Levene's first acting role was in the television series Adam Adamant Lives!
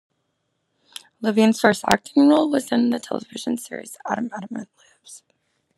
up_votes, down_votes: 0, 2